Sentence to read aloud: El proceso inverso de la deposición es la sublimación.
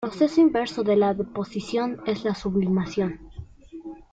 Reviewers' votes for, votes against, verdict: 1, 2, rejected